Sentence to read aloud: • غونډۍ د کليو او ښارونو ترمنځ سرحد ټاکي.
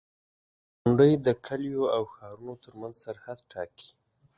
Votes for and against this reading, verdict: 2, 0, accepted